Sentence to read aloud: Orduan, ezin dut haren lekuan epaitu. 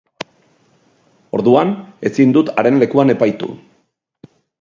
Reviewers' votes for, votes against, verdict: 6, 0, accepted